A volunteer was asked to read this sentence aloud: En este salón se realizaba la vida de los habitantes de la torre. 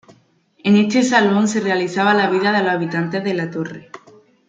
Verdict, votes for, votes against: accepted, 2, 0